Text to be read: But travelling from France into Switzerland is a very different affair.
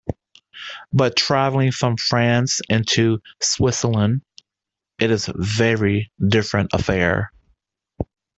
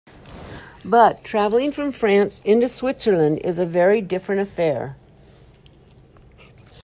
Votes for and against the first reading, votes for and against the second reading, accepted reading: 0, 2, 2, 0, second